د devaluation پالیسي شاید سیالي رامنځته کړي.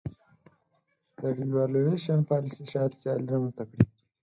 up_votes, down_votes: 4, 2